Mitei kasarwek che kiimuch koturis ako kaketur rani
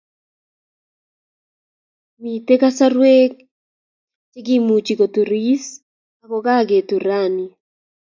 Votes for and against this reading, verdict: 2, 0, accepted